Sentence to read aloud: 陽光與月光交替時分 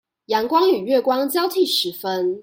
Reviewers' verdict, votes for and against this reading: accepted, 2, 0